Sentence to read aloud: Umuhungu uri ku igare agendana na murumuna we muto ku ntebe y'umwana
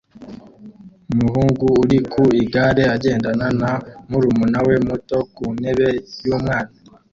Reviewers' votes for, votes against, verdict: 2, 0, accepted